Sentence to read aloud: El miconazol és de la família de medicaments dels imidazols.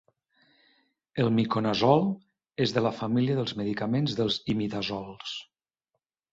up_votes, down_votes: 3, 0